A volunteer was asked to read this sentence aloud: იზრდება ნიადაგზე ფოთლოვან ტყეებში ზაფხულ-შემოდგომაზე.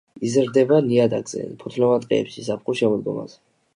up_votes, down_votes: 2, 0